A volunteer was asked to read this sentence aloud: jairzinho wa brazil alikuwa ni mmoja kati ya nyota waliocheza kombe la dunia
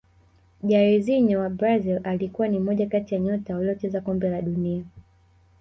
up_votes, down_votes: 1, 2